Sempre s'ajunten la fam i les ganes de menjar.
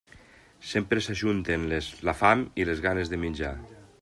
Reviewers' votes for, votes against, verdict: 0, 2, rejected